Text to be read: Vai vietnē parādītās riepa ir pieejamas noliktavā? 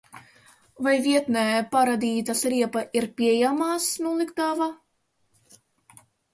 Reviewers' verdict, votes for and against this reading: accepted, 2, 0